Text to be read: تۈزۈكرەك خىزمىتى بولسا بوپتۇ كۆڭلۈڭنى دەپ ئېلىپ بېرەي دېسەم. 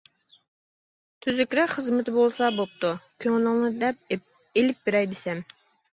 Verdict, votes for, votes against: rejected, 1, 2